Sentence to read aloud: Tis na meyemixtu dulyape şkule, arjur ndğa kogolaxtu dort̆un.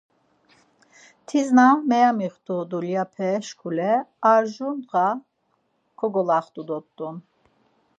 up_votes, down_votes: 4, 0